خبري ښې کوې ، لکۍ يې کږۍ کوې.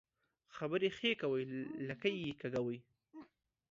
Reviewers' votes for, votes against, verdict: 2, 0, accepted